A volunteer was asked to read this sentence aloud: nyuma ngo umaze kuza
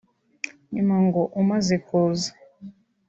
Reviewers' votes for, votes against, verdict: 3, 1, accepted